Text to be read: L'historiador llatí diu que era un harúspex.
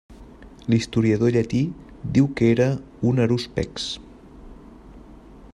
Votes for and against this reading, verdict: 2, 1, accepted